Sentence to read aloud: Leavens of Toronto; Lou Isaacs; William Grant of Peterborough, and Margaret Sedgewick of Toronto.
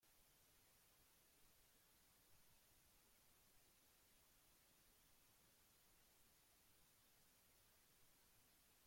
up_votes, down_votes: 0, 2